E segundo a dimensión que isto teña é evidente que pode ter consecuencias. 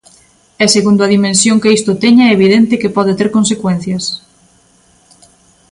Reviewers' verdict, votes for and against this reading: accepted, 2, 0